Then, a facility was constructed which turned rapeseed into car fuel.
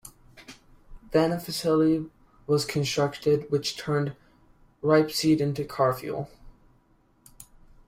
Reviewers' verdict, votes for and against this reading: rejected, 1, 2